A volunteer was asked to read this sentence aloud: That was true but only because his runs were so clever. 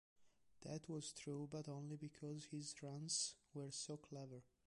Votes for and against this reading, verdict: 1, 3, rejected